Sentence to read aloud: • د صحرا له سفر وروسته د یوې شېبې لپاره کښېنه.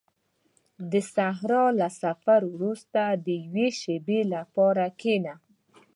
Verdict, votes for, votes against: rejected, 1, 2